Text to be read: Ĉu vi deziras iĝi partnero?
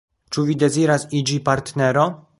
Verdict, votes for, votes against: rejected, 0, 2